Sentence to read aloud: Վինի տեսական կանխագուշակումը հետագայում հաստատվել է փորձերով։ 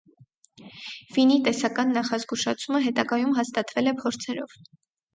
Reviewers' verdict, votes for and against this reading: rejected, 2, 4